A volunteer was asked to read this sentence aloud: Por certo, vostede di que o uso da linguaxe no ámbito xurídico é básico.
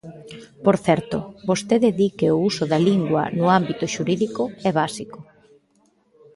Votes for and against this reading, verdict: 1, 2, rejected